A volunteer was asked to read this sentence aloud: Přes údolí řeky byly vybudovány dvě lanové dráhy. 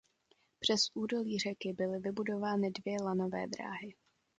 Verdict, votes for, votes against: accepted, 2, 0